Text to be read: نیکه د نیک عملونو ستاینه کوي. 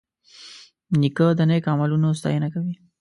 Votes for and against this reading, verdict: 2, 0, accepted